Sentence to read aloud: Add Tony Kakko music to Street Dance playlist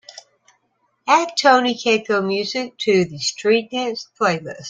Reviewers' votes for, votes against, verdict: 2, 0, accepted